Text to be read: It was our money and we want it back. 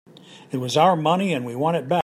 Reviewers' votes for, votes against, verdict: 1, 2, rejected